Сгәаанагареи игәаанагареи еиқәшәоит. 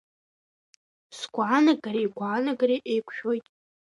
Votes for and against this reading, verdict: 2, 0, accepted